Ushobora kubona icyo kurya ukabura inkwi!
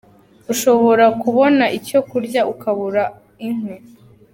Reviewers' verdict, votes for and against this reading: accepted, 2, 0